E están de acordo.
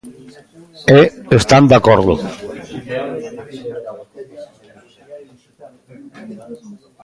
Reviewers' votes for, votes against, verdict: 1, 2, rejected